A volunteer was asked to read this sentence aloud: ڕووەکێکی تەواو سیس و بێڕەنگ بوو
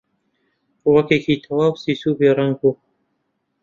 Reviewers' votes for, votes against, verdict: 2, 0, accepted